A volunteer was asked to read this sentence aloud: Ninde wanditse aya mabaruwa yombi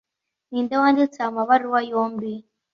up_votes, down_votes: 2, 0